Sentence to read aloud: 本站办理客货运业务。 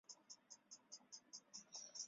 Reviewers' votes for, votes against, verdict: 0, 2, rejected